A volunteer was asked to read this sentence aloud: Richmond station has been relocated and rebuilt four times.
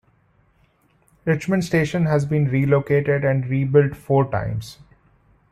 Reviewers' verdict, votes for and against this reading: accepted, 2, 0